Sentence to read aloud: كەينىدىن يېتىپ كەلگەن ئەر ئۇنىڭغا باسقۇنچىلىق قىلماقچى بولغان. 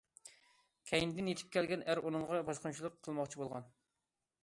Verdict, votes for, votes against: accepted, 2, 0